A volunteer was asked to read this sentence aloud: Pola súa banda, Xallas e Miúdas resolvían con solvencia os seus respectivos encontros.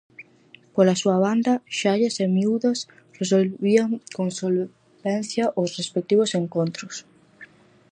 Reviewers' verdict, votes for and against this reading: rejected, 0, 4